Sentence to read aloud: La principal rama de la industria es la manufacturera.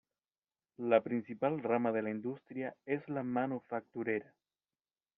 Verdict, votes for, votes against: accepted, 2, 0